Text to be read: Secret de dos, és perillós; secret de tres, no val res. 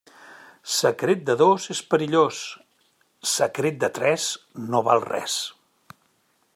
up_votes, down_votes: 3, 0